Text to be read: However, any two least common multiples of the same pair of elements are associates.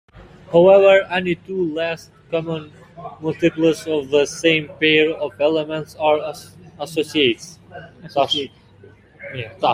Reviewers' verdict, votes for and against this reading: rejected, 0, 2